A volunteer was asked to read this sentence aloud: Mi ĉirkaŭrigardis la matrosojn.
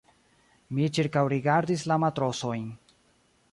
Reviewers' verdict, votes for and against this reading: rejected, 1, 2